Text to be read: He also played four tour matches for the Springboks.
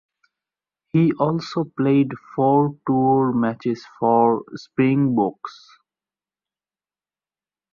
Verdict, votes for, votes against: rejected, 0, 2